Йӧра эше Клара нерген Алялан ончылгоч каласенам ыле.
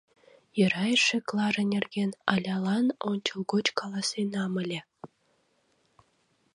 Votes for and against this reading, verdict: 2, 0, accepted